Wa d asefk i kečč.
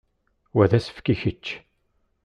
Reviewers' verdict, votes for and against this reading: accepted, 2, 0